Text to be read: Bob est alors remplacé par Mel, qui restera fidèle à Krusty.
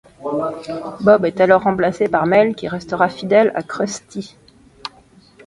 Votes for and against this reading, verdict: 2, 1, accepted